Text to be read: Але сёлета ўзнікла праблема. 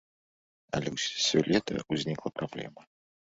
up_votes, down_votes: 1, 2